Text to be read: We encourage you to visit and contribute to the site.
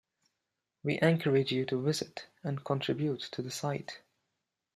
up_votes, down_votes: 2, 0